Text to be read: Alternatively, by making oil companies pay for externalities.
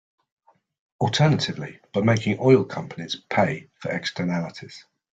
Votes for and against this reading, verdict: 2, 0, accepted